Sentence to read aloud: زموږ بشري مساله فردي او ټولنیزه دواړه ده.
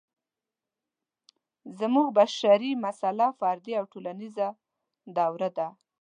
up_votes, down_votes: 0, 2